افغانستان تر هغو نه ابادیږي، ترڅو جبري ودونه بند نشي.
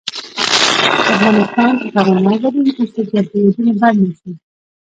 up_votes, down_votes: 0, 2